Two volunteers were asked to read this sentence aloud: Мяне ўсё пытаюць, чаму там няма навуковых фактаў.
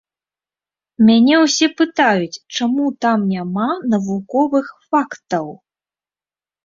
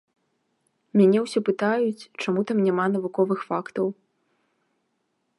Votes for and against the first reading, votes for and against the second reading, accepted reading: 0, 2, 2, 0, second